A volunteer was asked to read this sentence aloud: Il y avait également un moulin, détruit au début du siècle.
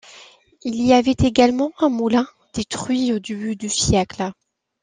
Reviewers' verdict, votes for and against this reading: accepted, 2, 1